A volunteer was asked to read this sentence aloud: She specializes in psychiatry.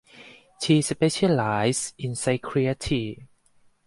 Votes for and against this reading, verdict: 0, 4, rejected